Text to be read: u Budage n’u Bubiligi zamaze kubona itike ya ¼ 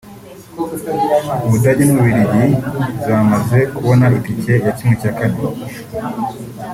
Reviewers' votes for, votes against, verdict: 2, 0, accepted